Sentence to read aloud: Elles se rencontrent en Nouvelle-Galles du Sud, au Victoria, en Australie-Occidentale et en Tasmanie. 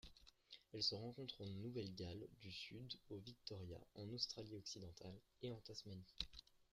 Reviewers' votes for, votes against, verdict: 0, 2, rejected